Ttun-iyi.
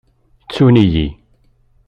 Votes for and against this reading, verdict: 2, 0, accepted